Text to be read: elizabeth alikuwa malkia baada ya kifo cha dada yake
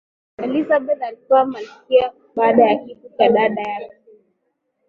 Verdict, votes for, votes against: accepted, 2, 0